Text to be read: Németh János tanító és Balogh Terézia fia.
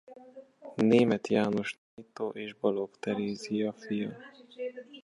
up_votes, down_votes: 0, 2